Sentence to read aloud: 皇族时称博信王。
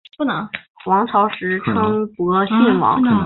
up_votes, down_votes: 1, 2